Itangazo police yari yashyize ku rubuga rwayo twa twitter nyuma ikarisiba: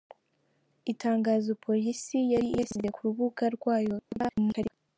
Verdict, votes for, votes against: rejected, 0, 2